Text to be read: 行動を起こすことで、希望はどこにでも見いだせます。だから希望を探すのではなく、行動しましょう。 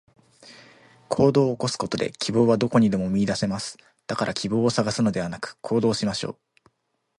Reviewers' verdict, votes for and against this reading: accepted, 2, 0